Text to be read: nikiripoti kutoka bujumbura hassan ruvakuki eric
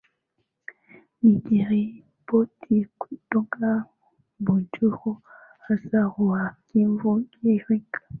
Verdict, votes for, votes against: rejected, 0, 2